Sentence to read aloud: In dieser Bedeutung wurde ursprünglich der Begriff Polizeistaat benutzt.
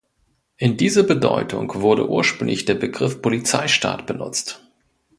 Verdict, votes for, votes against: rejected, 1, 2